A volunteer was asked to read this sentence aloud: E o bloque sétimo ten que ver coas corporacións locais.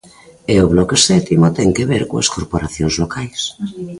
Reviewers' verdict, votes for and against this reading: accepted, 2, 0